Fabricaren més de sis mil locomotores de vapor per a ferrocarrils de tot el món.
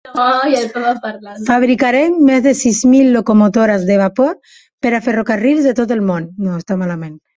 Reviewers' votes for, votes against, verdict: 0, 2, rejected